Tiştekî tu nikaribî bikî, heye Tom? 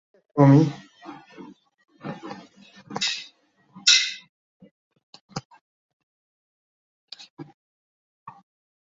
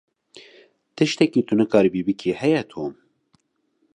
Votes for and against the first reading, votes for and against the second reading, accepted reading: 0, 2, 2, 0, second